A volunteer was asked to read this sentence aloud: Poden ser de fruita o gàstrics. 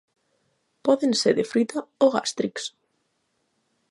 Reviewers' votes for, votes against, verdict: 4, 0, accepted